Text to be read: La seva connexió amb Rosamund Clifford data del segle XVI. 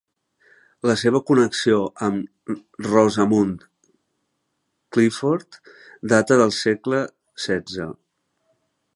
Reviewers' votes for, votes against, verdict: 0, 2, rejected